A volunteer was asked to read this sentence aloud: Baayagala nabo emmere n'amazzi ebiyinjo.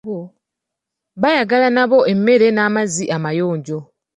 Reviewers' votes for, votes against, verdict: 0, 2, rejected